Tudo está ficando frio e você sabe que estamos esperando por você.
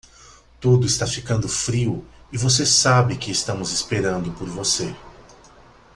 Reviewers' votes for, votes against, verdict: 2, 0, accepted